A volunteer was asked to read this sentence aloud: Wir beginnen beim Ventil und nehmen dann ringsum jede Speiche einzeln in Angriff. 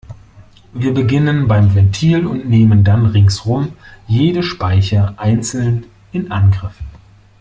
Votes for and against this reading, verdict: 2, 0, accepted